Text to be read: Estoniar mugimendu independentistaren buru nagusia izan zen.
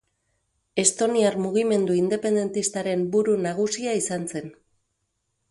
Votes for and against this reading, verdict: 6, 0, accepted